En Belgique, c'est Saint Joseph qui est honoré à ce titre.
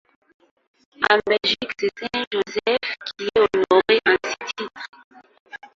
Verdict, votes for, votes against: rejected, 0, 2